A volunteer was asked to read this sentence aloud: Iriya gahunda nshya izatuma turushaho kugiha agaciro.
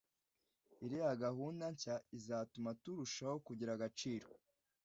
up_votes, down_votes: 1, 2